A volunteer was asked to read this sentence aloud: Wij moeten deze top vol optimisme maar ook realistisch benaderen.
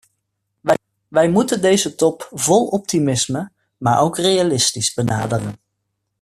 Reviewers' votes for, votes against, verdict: 0, 2, rejected